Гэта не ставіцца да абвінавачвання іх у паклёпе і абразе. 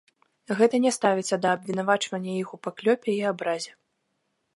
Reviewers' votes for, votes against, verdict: 2, 0, accepted